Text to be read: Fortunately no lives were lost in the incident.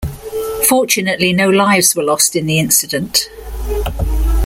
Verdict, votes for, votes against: accepted, 6, 1